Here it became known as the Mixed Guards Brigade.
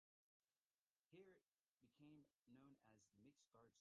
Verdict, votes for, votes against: rejected, 0, 2